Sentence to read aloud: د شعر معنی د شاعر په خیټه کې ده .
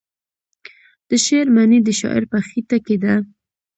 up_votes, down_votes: 2, 0